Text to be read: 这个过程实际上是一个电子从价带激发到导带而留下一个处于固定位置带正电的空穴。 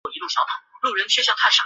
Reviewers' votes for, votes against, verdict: 0, 2, rejected